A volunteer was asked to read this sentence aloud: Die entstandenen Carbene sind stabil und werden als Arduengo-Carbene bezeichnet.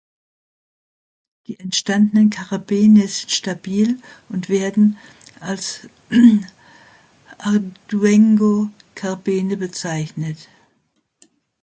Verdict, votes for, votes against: rejected, 0, 2